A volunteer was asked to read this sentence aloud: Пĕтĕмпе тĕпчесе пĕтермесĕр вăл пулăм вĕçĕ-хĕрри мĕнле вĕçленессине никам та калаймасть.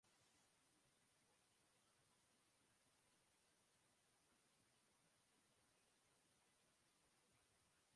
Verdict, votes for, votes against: rejected, 0, 2